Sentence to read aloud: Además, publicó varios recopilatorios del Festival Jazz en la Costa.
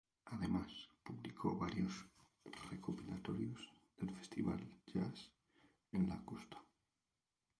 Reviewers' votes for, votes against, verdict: 2, 2, rejected